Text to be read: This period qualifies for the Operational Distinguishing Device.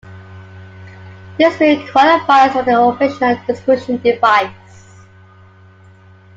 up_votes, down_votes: 0, 2